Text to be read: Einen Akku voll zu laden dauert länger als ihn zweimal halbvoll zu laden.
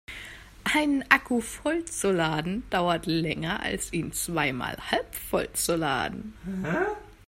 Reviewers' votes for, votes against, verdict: 1, 2, rejected